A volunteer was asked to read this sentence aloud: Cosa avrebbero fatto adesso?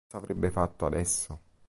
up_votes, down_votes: 0, 2